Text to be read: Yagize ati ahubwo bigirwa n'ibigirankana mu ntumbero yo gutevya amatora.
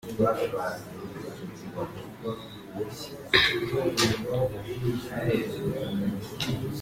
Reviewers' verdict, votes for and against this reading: rejected, 1, 2